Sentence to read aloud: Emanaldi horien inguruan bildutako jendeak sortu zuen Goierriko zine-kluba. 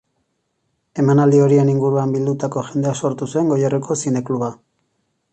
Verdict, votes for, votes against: accepted, 2, 0